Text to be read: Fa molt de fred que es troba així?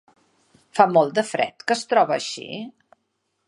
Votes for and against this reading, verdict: 3, 0, accepted